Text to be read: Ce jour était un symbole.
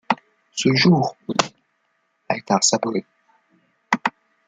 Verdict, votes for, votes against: rejected, 0, 2